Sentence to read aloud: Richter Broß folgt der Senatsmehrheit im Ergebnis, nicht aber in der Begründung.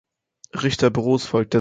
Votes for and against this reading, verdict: 0, 2, rejected